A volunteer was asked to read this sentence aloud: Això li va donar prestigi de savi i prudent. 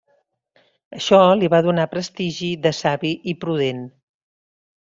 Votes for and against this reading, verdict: 3, 0, accepted